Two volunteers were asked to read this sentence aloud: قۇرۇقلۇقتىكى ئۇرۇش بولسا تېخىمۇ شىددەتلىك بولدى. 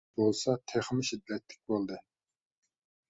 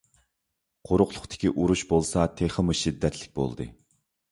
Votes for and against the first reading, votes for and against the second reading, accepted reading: 0, 2, 2, 0, second